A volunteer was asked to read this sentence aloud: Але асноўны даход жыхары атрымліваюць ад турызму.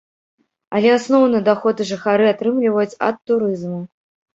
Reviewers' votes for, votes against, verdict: 2, 0, accepted